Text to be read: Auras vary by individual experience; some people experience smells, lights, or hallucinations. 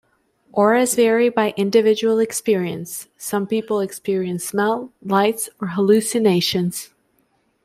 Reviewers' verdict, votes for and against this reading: rejected, 0, 2